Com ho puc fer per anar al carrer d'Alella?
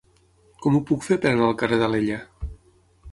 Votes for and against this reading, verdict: 6, 0, accepted